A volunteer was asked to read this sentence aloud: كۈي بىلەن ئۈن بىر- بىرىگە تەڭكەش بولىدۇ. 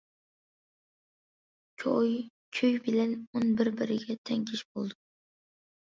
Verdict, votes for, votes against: rejected, 0, 2